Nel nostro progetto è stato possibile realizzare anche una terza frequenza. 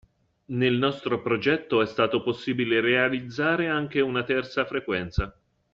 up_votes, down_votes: 2, 0